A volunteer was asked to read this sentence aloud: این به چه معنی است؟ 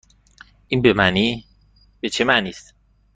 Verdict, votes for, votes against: rejected, 1, 2